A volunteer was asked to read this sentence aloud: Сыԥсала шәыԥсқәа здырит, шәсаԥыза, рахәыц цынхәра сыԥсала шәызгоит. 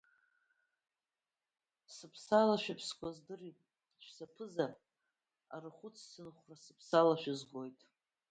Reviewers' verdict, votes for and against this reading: rejected, 0, 2